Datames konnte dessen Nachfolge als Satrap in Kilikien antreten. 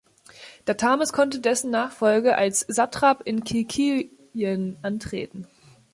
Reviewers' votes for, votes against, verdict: 0, 2, rejected